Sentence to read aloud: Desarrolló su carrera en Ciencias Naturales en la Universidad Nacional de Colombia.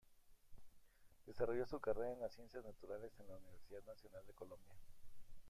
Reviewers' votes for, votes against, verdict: 2, 3, rejected